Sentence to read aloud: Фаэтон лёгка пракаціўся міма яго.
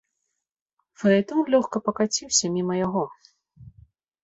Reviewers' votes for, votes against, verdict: 0, 2, rejected